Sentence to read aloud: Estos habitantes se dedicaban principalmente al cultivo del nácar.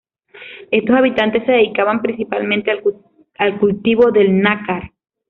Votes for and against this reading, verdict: 0, 2, rejected